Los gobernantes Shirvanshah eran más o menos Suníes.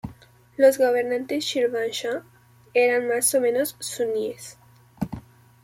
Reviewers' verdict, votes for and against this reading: accepted, 2, 0